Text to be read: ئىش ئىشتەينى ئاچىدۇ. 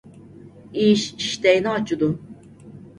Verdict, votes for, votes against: accepted, 2, 0